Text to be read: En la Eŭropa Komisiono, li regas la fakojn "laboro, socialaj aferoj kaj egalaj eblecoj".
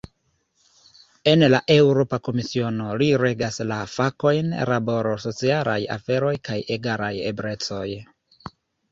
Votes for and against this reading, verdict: 2, 1, accepted